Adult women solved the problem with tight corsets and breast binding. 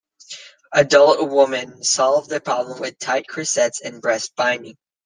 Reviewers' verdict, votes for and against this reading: rejected, 1, 2